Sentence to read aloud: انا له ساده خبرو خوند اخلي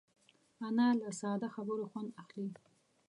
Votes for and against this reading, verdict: 2, 0, accepted